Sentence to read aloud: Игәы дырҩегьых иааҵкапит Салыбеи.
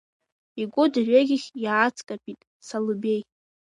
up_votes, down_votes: 0, 2